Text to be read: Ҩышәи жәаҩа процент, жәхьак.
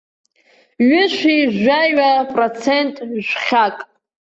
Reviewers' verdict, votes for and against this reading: accepted, 2, 1